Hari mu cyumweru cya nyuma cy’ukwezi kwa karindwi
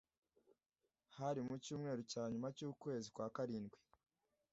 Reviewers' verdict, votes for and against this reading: accepted, 2, 0